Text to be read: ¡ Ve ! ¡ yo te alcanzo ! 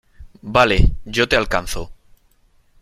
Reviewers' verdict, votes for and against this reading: rejected, 0, 2